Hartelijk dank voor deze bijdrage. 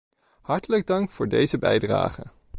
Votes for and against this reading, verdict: 3, 0, accepted